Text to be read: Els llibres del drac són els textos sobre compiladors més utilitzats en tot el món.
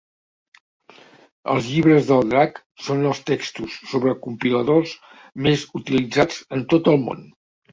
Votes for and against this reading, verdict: 2, 0, accepted